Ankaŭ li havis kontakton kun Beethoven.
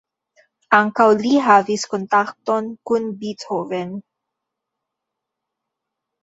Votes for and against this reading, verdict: 2, 0, accepted